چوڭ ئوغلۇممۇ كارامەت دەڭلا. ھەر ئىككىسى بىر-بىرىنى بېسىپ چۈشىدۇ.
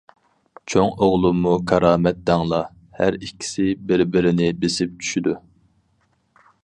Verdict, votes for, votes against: accepted, 4, 0